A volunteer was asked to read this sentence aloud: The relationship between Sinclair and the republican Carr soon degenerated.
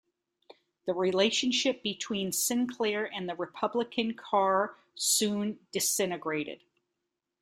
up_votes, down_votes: 0, 2